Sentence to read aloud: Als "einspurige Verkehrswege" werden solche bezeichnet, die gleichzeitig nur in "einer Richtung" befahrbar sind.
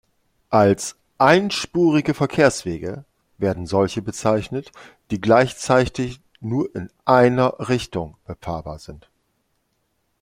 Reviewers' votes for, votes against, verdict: 0, 2, rejected